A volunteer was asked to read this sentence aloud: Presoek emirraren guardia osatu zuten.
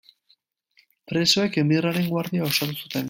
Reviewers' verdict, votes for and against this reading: rejected, 0, 2